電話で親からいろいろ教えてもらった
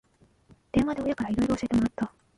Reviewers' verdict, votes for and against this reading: rejected, 1, 2